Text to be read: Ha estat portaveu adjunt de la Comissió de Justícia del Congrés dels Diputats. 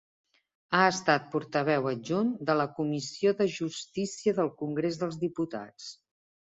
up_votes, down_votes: 2, 0